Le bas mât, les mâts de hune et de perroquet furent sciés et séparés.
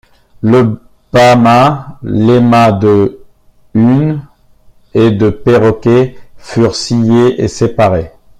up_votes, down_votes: 1, 2